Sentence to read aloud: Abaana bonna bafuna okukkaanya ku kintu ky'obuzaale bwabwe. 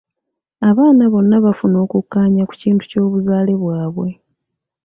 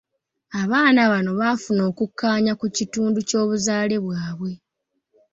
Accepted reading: first